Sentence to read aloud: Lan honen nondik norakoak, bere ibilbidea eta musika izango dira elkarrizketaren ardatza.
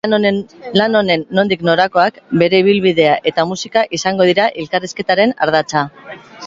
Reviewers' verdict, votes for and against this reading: rejected, 1, 2